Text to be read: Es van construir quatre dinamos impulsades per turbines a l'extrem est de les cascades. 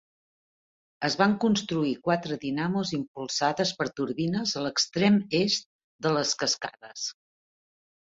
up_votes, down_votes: 3, 0